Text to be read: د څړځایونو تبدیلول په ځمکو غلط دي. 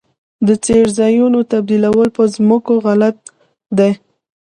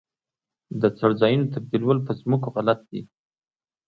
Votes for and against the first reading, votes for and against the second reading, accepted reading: 1, 2, 2, 0, second